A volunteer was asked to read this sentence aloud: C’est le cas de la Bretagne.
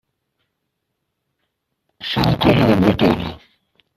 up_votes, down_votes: 0, 2